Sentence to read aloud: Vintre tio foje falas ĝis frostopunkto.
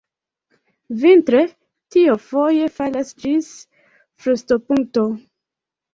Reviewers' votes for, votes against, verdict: 3, 1, accepted